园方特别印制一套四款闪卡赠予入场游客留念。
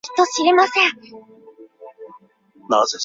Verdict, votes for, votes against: rejected, 1, 6